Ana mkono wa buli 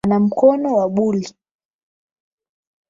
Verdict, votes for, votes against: rejected, 0, 8